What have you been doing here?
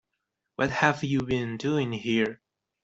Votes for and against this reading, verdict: 2, 0, accepted